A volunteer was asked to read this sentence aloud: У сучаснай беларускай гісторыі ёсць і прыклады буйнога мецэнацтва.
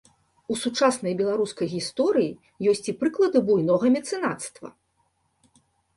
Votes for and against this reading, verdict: 2, 0, accepted